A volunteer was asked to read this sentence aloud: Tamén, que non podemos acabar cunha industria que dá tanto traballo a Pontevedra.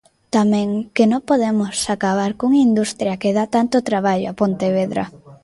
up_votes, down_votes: 0, 2